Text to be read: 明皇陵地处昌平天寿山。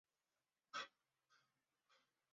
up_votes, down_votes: 0, 6